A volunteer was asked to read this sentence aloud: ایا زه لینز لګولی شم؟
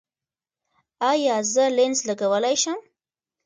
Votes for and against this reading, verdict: 1, 2, rejected